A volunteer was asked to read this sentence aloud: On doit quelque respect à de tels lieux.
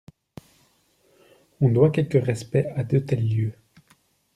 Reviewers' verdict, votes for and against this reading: accepted, 2, 0